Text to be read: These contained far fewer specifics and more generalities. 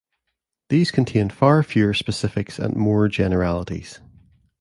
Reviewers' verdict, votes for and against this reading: accepted, 2, 0